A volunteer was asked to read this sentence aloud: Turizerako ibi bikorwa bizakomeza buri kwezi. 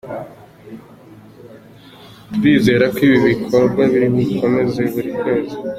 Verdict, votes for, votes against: accepted, 2, 0